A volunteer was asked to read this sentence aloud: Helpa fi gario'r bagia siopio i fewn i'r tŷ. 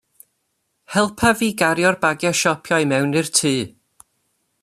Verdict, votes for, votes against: rejected, 0, 2